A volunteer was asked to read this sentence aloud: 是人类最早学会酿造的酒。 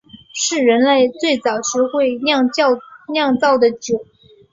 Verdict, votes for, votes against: rejected, 0, 3